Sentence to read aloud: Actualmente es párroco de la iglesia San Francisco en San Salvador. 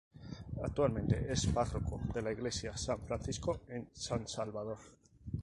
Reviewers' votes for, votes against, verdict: 4, 0, accepted